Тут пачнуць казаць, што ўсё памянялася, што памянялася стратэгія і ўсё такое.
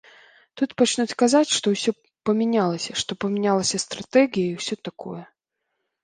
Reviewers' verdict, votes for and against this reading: rejected, 0, 2